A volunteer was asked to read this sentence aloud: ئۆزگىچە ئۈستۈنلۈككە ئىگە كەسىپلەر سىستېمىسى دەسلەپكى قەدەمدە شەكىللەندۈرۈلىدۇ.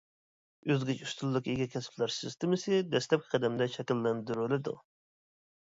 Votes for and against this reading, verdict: 0, 2, rejected